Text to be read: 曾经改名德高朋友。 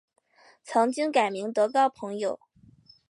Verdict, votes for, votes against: accepted, 3, 0